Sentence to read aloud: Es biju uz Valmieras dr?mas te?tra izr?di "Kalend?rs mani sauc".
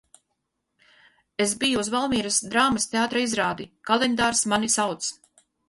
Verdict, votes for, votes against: rejected, 2, 4